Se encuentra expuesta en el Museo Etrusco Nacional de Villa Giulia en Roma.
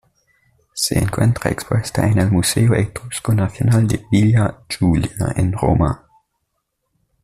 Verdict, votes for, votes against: accepted, 2, 1